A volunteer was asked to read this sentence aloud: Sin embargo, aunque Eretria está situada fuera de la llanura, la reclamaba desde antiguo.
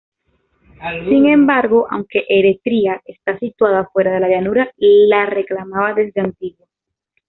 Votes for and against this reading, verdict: 2, 1, accepted